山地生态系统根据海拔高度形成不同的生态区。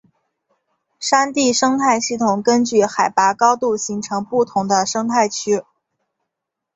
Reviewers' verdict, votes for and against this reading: accepted, 2, 0